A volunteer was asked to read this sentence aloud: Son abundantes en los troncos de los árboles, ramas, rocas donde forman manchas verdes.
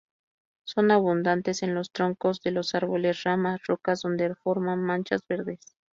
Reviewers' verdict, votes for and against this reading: accepted, 2, 0